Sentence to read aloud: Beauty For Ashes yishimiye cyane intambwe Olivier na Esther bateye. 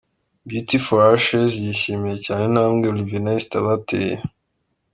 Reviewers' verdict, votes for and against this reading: accepted, 2, 0